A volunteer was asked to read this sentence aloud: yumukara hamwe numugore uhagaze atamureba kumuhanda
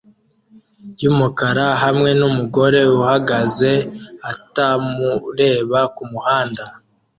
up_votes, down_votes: 2, 0